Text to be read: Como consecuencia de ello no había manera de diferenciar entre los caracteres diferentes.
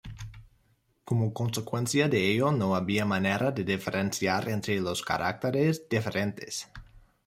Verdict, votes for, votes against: accepted, 2, 1